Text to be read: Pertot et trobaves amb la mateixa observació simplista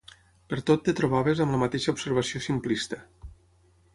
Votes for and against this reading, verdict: 3, 6, rejected